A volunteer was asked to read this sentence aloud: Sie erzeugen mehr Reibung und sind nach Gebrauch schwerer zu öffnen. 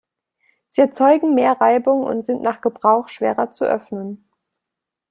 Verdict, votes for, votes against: accepted, 2, 0